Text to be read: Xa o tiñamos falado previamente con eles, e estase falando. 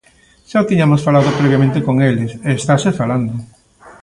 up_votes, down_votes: 0, 2